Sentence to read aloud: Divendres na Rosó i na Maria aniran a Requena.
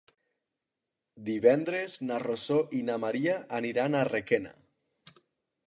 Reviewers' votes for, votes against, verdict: 2, 0, accepted